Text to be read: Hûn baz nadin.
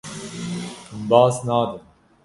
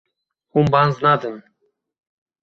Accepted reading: second